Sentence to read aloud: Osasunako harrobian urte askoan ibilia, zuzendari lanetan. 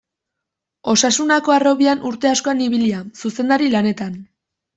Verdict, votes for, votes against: accepted, 2, 0